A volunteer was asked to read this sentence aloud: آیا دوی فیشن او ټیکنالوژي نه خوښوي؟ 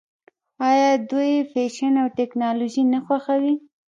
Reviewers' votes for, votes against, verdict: 1, 2, rejected